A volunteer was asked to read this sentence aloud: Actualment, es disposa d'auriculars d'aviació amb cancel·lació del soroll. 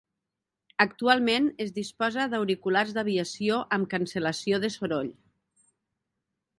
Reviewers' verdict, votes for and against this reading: accepted, 2, 0